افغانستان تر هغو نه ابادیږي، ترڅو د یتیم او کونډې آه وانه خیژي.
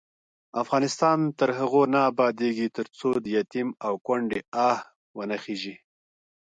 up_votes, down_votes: 2, 1